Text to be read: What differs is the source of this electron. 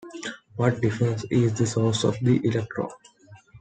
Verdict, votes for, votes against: rejected, 0, 2